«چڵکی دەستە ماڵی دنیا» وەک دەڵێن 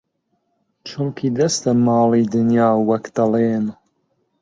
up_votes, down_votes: 2, 0